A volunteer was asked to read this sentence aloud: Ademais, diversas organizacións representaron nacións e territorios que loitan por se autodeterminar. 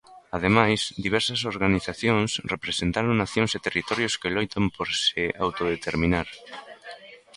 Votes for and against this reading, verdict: 1, 2, rejected